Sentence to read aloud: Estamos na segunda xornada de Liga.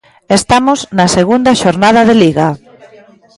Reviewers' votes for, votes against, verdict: 2, 0, accepted